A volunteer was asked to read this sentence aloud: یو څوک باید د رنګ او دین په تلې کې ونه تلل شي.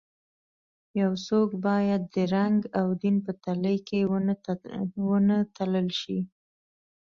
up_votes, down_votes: 2, 0